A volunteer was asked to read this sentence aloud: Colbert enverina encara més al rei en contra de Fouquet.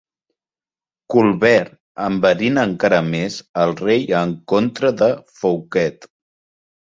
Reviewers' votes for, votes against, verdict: 2, 1, accepted